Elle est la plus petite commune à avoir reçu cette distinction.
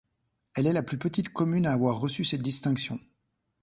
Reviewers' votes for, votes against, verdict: 2, 0, accepted